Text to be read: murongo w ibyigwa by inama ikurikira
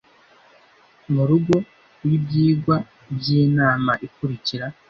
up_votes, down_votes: 0, 2